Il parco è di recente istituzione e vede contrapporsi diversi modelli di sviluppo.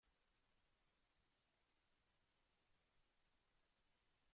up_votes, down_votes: 0, 2